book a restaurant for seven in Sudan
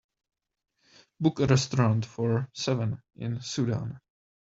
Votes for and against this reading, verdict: 2, 0, accepted